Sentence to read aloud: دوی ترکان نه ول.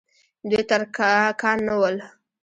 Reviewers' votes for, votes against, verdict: 1, 2, rejected